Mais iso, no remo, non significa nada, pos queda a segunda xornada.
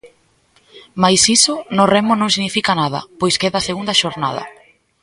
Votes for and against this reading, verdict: 0, 2, rejected